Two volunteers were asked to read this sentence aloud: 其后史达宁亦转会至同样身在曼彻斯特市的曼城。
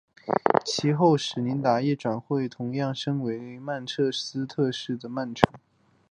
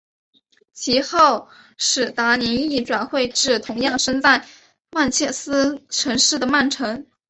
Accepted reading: first